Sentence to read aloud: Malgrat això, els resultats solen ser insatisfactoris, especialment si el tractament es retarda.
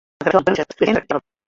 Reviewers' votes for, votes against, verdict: 0, 2, rejected